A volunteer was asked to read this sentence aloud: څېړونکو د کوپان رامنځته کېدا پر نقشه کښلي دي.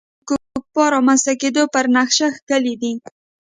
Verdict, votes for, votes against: rejected, 1, 2